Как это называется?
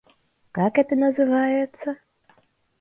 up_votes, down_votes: 2, 0